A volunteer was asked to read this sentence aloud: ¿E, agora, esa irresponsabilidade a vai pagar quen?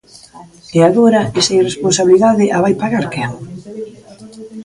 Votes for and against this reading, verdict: 0, 2, rejected